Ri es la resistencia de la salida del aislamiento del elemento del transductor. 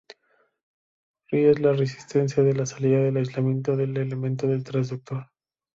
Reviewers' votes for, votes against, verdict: 2, 0, accepted